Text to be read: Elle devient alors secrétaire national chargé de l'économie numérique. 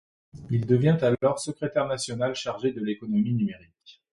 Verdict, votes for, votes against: rejected, 0, 2